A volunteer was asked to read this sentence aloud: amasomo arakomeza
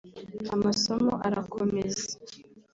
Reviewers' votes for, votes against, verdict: 2, 0, accepted